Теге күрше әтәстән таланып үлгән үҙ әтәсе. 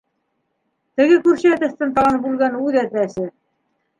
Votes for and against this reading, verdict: 1, 2, rejected